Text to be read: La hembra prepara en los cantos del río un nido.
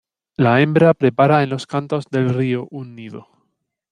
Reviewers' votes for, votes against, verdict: 1, 2, rejected